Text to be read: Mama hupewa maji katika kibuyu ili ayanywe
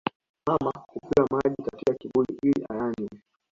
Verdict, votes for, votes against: accepted, 2, 0